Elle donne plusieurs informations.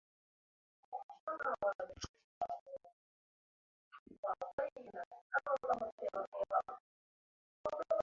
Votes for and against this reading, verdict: 0, 2, rejected